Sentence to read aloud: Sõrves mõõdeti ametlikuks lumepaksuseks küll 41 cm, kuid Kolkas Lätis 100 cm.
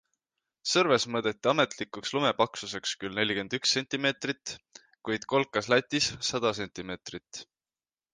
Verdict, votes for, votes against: rejected, 0, 2